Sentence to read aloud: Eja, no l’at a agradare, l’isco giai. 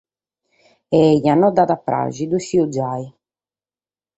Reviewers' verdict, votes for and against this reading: rejected, 0, 4